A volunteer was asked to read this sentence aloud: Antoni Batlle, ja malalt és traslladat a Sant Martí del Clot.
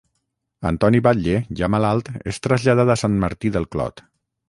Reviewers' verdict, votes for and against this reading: accepted, 9, 0